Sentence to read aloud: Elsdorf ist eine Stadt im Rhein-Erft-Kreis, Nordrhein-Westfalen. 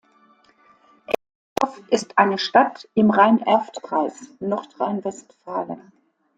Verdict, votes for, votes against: rejected, 0, 2